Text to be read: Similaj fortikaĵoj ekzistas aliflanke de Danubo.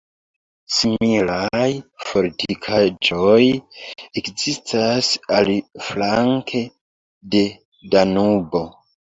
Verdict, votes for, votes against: accepted, 2, 1